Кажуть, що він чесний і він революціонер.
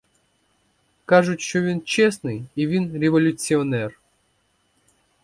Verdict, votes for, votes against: accepted, 2, 0